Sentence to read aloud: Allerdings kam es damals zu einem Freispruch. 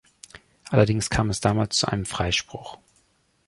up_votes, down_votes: 2, 0